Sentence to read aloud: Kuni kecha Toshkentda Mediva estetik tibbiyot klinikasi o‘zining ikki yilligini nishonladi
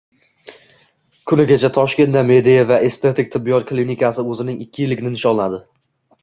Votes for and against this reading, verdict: 1, 2, rejected